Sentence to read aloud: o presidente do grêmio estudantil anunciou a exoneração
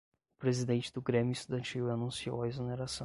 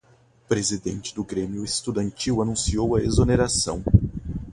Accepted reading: second